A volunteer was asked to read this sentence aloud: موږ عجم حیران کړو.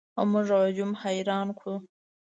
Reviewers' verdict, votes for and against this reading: rejected, 1, 2